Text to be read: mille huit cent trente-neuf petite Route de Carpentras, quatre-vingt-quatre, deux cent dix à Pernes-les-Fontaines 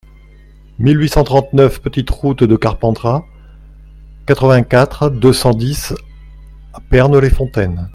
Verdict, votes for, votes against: accepted, 2, 0